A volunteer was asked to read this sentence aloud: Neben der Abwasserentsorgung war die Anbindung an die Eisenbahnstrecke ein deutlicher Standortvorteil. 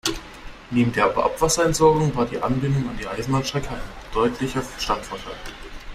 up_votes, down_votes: 2, 1